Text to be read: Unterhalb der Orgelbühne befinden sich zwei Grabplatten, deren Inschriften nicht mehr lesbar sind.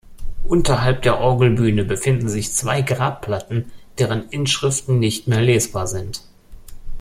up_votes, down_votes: 2, 0